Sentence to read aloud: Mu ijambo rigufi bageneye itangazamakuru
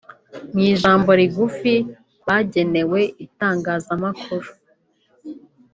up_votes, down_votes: 0, 2